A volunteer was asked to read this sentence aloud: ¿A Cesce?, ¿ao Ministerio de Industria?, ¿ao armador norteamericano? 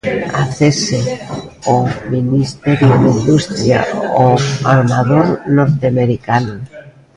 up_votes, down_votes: 1, 2